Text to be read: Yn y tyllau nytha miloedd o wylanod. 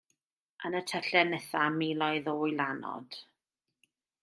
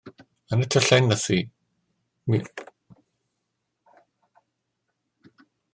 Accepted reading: first